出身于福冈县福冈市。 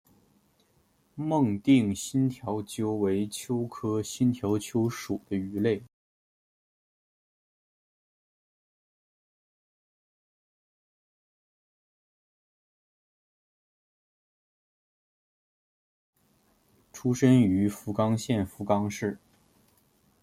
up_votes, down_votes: 0, 2